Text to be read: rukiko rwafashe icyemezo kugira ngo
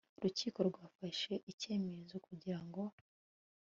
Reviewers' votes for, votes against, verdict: 2, 0, accepted